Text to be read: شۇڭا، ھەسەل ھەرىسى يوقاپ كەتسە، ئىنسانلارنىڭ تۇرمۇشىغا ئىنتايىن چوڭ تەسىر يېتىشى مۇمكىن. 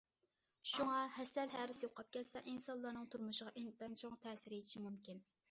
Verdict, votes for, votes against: accepted, 2, 0